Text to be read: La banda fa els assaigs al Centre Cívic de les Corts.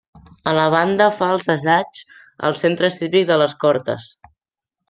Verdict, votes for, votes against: rejected, 0, 2